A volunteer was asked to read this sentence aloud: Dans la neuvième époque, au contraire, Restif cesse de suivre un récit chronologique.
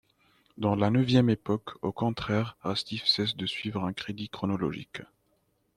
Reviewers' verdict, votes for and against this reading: rejected, 0, 2